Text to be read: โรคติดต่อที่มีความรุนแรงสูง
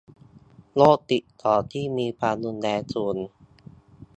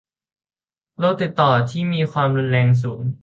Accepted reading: second